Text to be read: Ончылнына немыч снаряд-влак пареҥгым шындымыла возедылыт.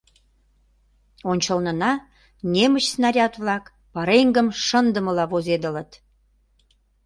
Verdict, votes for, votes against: accepted, 2, 0